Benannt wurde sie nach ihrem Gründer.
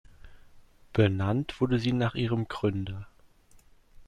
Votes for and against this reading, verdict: 3, 0, accepted